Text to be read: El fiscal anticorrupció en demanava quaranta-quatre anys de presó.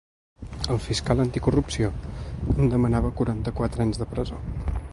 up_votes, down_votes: 2, 0